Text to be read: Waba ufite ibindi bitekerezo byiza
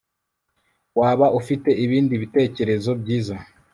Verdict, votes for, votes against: accepted, 2, 0